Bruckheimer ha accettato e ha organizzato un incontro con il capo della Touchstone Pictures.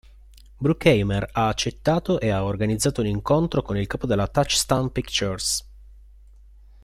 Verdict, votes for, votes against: accepted, 2, 0